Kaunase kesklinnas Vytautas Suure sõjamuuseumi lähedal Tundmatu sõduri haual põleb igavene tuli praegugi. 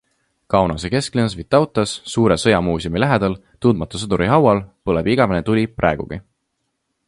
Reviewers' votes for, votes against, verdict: 2, 0, accepted